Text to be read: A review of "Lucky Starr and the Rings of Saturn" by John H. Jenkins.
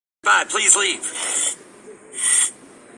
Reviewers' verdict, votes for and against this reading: rejected, 0, 3